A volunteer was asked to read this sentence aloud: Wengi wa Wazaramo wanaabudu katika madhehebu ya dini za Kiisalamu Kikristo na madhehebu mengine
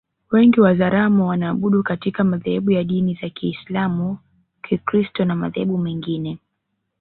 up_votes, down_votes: 3, 0